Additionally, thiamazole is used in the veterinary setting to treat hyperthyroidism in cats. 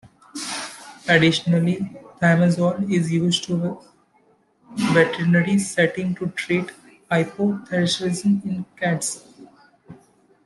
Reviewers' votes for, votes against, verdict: 1, 2, rejected